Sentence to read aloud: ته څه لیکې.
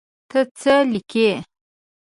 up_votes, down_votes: 2, 0